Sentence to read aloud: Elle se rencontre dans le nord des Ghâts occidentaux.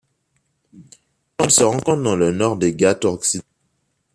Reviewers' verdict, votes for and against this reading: rejected, 1, 2